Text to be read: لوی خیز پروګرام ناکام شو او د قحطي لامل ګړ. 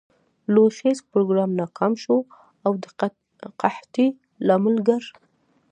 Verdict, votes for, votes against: rejected, 1, 2